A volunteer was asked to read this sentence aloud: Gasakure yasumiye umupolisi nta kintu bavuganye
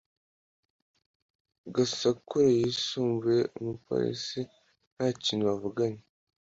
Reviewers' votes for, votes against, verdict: 2, 1, accepted